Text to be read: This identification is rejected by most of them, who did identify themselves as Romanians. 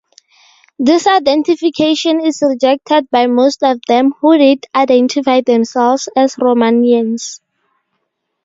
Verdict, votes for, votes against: rejected, 0, 2